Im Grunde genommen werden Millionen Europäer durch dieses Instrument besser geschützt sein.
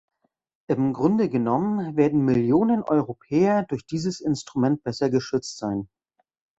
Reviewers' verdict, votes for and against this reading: accepted, 2, 0